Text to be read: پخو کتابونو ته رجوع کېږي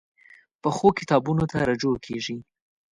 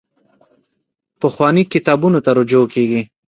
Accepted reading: first